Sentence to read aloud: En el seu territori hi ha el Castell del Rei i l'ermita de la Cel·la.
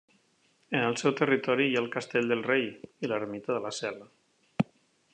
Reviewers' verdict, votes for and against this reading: accepted, 2, 0